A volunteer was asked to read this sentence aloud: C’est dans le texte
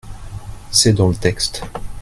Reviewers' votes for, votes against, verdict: 0, 2, rejected